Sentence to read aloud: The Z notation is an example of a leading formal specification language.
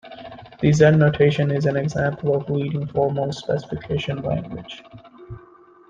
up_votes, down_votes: 1, 2